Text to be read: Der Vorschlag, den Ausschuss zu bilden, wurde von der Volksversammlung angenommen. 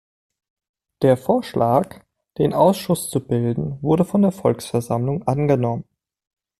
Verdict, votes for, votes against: accepted, 3, 0